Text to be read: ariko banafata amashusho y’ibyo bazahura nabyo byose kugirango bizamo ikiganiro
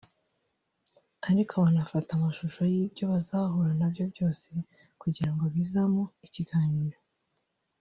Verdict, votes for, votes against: rejected, 1, 2